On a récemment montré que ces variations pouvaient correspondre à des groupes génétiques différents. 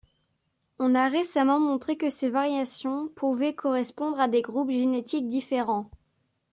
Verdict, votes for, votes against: accepted, 2, 0